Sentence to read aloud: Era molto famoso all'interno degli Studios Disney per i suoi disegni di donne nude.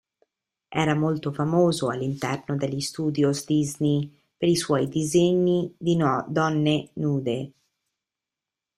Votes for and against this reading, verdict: 0, 2, rejected